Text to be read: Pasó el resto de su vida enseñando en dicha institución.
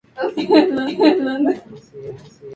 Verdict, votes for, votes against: rejected, 0, 2